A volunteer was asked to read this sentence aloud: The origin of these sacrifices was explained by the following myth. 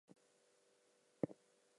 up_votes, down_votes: 0, 2